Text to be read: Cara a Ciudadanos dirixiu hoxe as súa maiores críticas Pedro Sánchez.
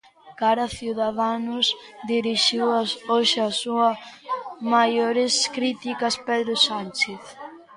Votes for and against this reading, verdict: 0, 2, rejected